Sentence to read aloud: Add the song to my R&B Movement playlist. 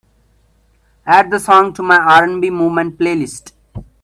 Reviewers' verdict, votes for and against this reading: accepted, 2, 1